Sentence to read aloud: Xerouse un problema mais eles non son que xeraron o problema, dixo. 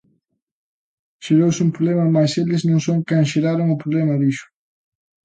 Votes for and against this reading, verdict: 1, 2, rejected